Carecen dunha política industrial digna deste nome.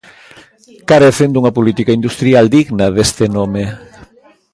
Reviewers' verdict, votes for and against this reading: rejected, 1, 2